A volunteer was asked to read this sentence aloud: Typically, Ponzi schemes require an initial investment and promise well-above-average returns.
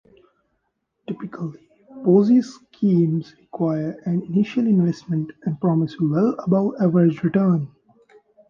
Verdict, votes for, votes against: rejected, 0, 2